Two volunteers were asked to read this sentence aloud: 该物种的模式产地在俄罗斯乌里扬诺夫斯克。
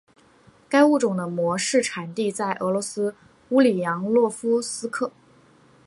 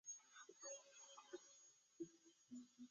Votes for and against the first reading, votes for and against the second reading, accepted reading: 2, 0, 0, 2, first